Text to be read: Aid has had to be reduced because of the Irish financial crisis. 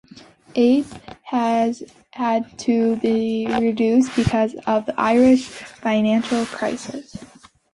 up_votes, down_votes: 2, 0